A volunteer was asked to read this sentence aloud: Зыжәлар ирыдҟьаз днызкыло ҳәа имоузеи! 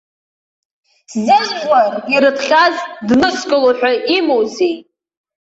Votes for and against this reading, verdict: 0, 2, rejected